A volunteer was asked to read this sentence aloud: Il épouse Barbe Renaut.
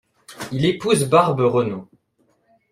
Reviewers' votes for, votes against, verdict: 2, 0, accepted